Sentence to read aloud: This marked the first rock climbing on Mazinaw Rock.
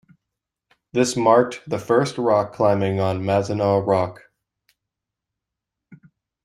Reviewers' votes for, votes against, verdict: 2, 0, accepted